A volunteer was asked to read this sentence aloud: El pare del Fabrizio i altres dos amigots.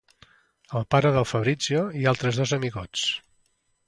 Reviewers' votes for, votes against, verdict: 2, 0, accepted